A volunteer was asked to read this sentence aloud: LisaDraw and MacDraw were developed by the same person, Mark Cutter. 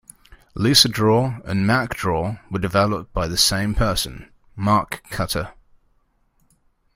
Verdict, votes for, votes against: accepted, 2, 0